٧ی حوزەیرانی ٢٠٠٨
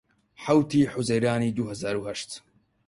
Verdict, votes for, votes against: rejected, 0, 2